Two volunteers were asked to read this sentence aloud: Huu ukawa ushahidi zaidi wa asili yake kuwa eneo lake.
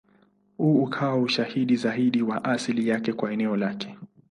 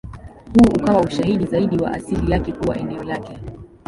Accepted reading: first